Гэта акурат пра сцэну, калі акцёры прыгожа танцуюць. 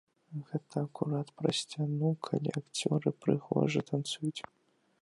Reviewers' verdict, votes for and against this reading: rejected, 0, 2